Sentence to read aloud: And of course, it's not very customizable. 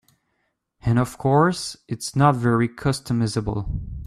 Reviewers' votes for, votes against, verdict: 2, 0, accepted